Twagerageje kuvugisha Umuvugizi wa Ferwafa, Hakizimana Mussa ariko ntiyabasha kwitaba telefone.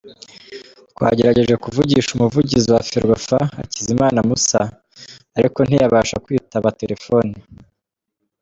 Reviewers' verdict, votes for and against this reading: rejected, 0, 2